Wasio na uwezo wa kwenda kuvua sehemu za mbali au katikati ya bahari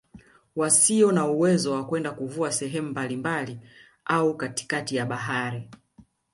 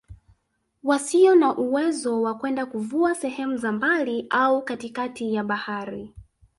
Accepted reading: second